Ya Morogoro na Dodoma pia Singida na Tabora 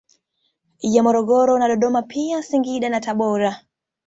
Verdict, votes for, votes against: accepted, 2, 0